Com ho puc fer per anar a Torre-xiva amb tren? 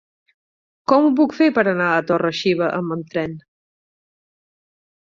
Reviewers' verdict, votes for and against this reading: rejected, 2, 4